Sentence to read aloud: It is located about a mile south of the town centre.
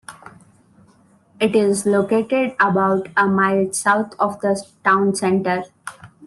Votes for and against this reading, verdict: 2, 0, accepted